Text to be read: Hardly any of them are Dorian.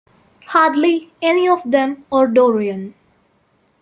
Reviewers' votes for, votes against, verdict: 2, 0, accepted